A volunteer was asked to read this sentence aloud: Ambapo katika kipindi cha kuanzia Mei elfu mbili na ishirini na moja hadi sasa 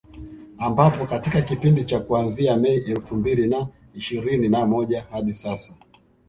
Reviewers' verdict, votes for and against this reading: rejected, 1, 2